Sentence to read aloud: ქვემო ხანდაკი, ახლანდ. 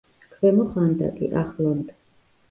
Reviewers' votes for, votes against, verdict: 1, 2, rejected